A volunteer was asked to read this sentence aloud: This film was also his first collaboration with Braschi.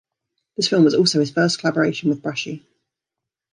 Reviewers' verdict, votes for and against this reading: accepted, 2, 1